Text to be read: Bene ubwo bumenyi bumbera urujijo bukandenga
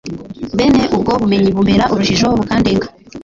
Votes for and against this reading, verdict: 2, 1, accepted